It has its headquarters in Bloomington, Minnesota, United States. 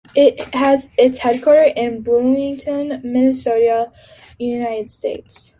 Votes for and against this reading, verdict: 0, 2, rejected